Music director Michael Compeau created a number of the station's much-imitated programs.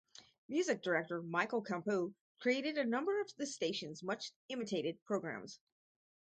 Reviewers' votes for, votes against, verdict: 4, 0, accepted